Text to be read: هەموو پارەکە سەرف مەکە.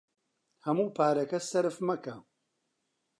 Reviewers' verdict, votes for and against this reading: accepted, 2, 0